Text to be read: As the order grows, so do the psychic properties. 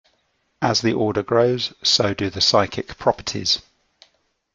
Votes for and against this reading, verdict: 2, 0, accepted